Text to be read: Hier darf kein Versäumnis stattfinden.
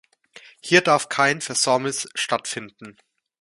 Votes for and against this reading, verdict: 2, 0, accepted